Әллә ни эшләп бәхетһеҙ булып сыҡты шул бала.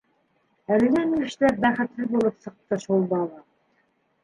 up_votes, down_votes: 0, 2